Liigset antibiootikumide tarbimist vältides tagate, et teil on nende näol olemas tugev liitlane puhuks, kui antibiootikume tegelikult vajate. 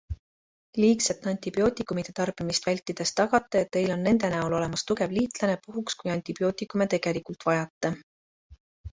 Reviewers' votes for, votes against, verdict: 2, 0, accepted